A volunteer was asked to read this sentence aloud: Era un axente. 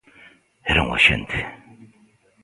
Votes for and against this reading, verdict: 2, 0, accepted